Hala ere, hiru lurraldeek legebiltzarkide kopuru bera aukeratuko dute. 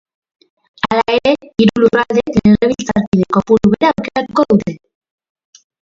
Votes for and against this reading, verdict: 0, 2, rejected